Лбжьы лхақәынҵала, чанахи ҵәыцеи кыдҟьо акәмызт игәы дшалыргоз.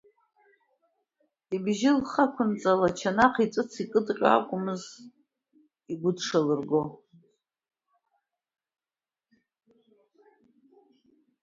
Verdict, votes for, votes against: rejected, 1, 2